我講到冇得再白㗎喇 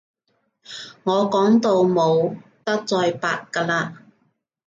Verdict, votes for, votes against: accepted, 2, 0